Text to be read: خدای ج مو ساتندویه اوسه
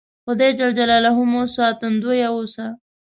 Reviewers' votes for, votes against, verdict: 2, 0, accepted